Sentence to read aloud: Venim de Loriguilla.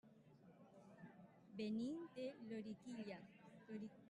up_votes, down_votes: 0, 2